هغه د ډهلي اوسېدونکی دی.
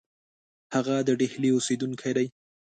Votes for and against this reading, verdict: 2, 0, accepted